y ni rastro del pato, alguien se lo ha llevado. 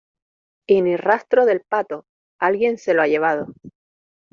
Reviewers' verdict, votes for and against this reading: accepted, 2, 0